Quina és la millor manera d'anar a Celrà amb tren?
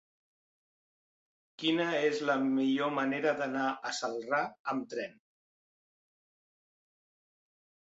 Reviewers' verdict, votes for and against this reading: accepted, 5, 0